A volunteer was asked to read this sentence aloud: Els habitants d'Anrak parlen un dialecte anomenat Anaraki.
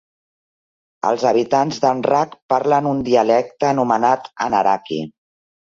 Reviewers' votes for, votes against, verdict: 3, 0, accepted